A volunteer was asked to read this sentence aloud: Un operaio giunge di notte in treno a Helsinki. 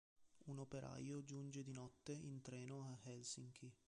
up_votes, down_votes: 0, 2